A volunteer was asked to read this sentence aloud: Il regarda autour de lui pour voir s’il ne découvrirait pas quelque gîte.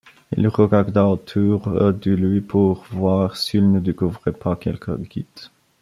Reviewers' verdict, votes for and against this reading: rejected, 0, 2